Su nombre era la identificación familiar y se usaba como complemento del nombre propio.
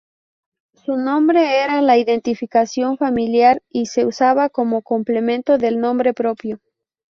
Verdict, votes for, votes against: accepted, 2, 0